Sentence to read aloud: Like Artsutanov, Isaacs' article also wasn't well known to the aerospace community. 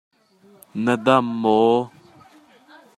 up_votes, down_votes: 0, 2